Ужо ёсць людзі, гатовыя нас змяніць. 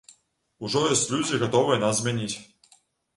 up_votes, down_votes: 1, 2